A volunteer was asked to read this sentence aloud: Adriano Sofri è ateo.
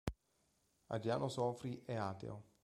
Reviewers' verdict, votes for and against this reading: accepted, 2, 1